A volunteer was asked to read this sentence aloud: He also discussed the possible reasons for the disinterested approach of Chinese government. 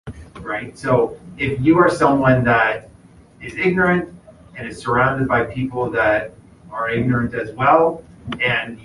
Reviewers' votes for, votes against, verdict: 0, 2, rejected